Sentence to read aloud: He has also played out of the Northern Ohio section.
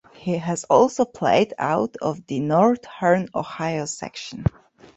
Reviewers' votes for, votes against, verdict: 1, 2, rejected